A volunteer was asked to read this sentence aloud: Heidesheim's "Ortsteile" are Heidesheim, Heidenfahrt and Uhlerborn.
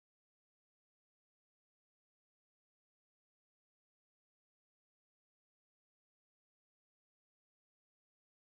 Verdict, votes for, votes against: rejected, 0, 2